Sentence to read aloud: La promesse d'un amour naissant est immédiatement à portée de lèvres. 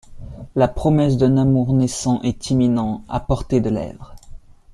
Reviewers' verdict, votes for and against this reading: rejected, 0, 2